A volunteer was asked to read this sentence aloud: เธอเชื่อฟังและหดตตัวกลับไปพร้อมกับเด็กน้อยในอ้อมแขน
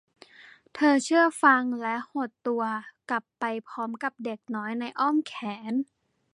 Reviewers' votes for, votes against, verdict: 2, 0, accepted